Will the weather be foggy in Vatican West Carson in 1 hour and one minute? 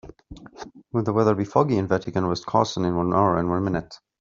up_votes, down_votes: 0, 2